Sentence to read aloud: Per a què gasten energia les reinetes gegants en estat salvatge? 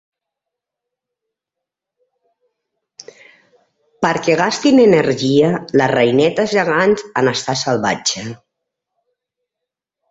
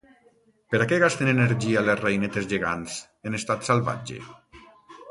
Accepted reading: second